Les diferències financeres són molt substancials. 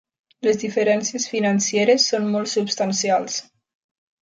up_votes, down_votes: 1, 2